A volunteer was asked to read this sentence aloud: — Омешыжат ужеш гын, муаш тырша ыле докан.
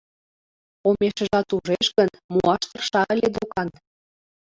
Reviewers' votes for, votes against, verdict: 1, 2, rejected